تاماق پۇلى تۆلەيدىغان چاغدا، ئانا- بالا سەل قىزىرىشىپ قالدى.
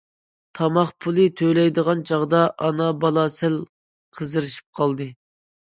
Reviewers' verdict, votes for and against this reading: accepted, 2, 0